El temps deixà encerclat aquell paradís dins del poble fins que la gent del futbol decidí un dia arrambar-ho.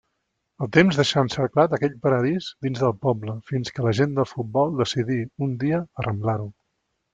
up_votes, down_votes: 1, 2